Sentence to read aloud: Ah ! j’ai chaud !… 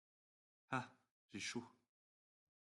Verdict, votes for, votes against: accepted, 2, 0